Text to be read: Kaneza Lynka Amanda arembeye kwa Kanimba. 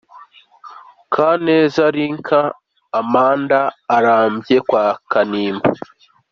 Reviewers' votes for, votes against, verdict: 1, 3, rejected